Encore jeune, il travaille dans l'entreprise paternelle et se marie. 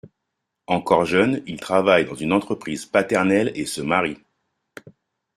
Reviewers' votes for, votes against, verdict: 1, 2, rejected